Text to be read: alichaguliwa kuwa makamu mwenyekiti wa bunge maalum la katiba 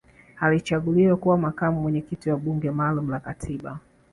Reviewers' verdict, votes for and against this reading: accepted, 2, 0